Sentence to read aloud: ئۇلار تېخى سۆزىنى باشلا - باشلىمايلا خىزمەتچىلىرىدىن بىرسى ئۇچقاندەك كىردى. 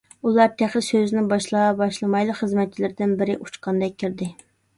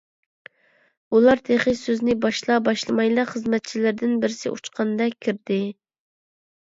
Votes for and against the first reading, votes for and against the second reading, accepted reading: 0, 2, 2, 0, second